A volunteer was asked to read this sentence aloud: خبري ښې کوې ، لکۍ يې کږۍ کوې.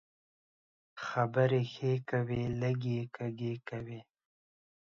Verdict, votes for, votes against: rejected, 1, 2